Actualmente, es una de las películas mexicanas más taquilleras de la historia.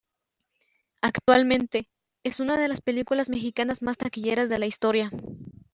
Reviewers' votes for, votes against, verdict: 1, 2, rejected